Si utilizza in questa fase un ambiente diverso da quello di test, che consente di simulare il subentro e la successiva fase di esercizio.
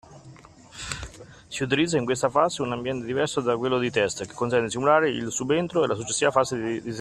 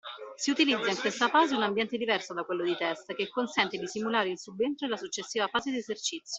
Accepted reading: second